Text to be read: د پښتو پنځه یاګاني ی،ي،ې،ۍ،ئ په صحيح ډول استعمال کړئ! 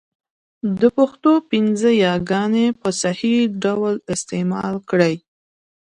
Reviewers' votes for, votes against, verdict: 2, 1, accepted